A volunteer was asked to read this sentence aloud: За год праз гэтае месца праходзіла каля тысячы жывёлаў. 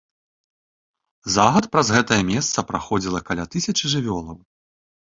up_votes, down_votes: 1, 2